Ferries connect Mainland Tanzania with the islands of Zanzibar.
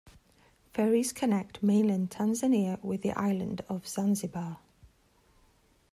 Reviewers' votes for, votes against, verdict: 1, 2, rejected